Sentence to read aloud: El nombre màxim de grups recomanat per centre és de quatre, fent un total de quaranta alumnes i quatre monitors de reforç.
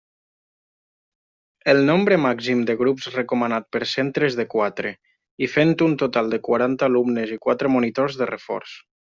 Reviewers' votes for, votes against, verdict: 0, 2, rejected